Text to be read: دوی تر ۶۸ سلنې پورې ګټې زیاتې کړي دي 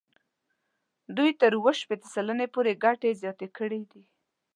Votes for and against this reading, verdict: 0, 2, rejected